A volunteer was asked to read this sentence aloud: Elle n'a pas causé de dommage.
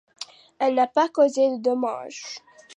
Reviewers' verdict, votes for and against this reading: rejected, 1, 2